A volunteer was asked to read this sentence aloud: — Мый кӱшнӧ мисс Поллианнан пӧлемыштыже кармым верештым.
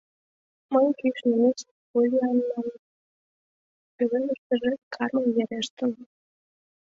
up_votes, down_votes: 1, 2